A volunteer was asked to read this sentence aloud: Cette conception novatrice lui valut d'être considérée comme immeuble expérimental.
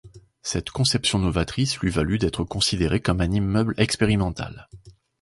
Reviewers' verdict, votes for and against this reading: rejected, 1, 2